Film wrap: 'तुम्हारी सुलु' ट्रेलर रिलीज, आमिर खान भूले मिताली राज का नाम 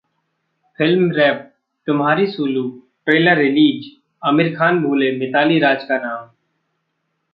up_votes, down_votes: 2, 1